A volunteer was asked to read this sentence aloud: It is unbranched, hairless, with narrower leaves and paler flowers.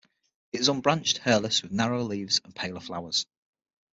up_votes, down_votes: 6, 0